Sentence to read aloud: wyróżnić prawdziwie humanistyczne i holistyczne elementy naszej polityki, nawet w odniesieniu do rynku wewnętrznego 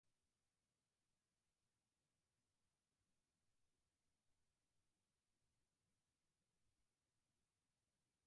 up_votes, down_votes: 2, 4